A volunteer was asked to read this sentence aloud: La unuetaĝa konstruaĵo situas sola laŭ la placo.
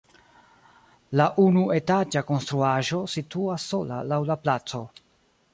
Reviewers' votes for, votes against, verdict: 2, 0, accepted